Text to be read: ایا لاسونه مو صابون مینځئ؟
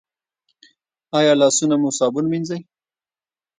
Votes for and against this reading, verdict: 1, 2, rejected